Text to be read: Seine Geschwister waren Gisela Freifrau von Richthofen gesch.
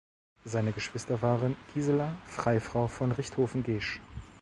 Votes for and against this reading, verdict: 0, 2, rejected